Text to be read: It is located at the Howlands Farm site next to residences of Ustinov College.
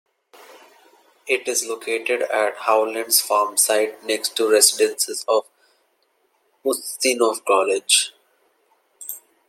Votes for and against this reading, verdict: 0, 2, rejected